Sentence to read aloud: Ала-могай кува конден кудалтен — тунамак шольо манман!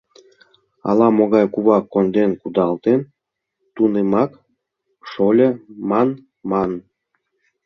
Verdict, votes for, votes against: rejected, 0, 2